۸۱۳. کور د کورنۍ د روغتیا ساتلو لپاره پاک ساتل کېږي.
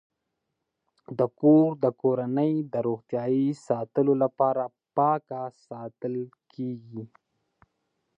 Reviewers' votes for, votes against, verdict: 0, 2, rejected